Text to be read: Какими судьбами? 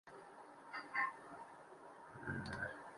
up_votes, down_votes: 1, 2